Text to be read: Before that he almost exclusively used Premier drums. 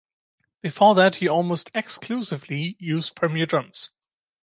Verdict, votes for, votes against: accepted, 2, 0